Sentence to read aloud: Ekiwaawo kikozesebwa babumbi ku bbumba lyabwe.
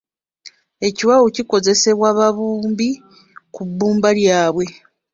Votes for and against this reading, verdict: 1, 2, rejected